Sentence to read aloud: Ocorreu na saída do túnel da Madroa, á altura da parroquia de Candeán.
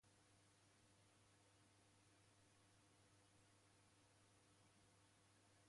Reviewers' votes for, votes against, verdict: 0, 2, rejected